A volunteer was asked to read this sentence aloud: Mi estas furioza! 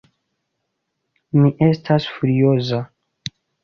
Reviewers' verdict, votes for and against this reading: rejected, 1, 2